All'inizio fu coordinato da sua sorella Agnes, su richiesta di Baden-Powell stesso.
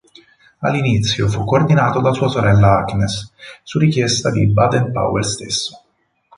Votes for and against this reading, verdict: 6, 0, accepted